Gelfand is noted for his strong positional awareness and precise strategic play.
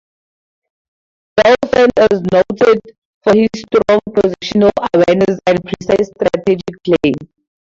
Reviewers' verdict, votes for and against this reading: rejected, 0, 2